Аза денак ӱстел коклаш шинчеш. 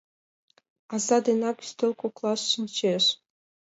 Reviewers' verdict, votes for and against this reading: accepted, 2, 0